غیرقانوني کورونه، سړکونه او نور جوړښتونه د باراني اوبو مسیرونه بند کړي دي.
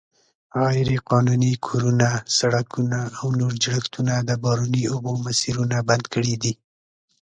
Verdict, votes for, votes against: accepted, 2, 0